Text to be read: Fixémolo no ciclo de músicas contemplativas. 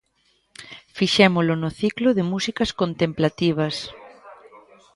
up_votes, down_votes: 2, 0